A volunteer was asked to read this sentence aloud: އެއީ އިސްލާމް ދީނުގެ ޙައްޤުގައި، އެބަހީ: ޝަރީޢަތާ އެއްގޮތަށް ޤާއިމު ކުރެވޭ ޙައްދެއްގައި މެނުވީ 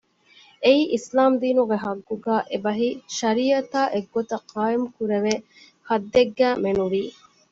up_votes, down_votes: 2, 0